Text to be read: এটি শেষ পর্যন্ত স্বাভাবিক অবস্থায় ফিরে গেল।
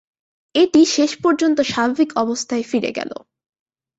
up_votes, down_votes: 7, 0